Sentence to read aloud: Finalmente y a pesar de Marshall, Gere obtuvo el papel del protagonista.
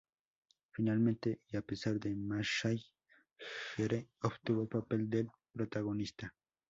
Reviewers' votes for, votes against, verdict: 2, 2, rejected